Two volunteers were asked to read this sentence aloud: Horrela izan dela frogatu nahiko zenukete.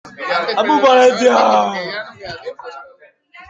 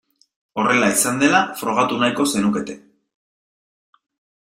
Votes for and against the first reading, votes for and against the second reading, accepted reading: 0, 2, 2, 0, second